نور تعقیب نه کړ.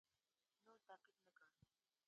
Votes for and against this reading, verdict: 0, 2, rejected